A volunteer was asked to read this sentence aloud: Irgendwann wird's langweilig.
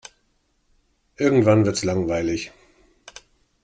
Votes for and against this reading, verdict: 2, 0, accepted